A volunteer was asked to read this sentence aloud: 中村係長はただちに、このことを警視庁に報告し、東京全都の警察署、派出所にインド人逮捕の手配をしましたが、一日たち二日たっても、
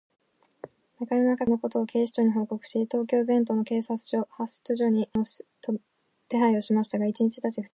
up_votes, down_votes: 0, 2